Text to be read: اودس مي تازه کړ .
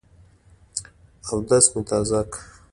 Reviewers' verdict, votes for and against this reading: accepted, 2, 0